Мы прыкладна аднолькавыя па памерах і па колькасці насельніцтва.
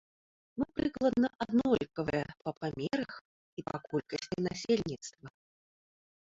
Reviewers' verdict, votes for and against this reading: rejected, 1, 2